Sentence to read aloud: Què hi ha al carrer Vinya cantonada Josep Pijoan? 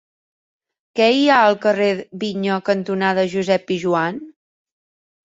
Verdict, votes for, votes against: accepted, 3, 0